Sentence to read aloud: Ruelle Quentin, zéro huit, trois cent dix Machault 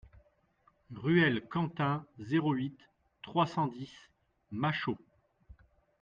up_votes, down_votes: 2, 0